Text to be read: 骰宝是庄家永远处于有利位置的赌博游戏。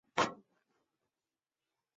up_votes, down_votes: 1, 3